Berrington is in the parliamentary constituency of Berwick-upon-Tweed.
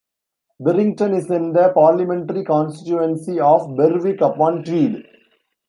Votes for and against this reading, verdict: 1, 2, rejected